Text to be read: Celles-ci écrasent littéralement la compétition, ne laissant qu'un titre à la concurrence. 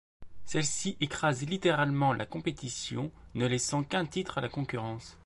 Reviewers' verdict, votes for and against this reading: accepted, 2, 1